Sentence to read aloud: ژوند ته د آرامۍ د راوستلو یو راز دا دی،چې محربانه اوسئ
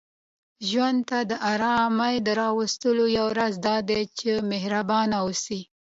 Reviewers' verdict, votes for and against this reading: accepted, 2, 1